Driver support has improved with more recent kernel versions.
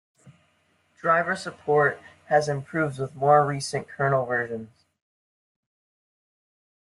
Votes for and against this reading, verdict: 2, 0, accepted